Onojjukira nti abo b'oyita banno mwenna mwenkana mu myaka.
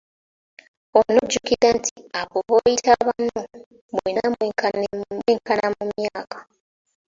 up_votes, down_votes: 1, 2